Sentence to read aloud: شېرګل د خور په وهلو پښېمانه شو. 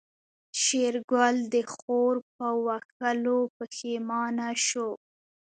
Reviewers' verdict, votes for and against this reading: accepted, 2, 0